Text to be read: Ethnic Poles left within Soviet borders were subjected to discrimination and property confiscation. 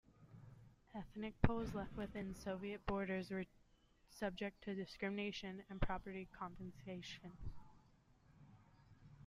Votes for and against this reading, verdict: 0, 2, rejected